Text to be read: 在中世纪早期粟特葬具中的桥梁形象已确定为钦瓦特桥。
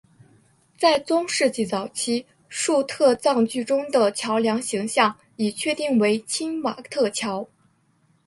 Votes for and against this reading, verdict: 2, 1, accepted